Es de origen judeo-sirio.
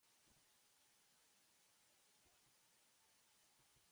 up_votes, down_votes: 0, 2